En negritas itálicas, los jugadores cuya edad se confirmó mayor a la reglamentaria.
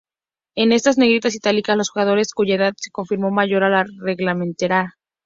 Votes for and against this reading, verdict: 2, 0, accepted